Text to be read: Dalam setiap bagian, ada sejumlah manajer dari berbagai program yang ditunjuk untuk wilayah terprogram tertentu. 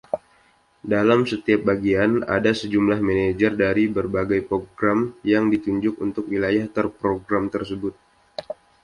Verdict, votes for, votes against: rejected, 0, 2